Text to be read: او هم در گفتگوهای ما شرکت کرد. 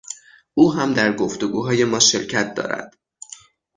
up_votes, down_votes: 0, 6